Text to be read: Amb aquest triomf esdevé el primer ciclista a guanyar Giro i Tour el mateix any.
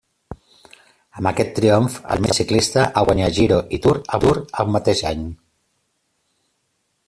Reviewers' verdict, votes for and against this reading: rejected, 0, 2